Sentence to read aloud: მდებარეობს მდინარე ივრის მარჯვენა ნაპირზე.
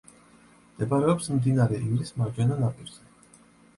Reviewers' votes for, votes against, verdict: 2, 0, accepted